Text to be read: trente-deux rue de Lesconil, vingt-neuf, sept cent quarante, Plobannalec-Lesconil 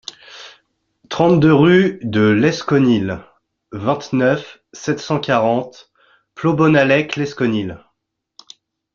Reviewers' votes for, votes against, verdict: 1, 2, rejected